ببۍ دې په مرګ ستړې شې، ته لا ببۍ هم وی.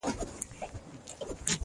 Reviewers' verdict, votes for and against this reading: rejected, 0, 2